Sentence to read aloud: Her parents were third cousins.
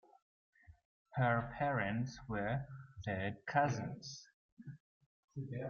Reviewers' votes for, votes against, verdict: 2, 1, accepted